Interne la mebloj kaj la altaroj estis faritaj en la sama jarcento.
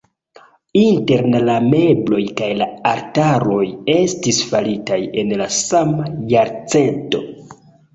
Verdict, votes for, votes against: rejected, 1, 2